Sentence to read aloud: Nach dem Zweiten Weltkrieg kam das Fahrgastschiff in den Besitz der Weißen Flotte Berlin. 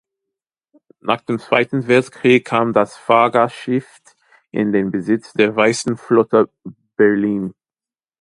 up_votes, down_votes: 2, 0